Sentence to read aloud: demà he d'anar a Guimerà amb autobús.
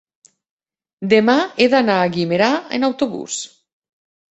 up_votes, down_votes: 1, 2